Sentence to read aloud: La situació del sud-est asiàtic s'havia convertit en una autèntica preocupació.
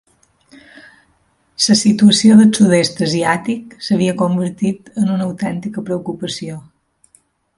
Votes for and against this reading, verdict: 0, 2, rejected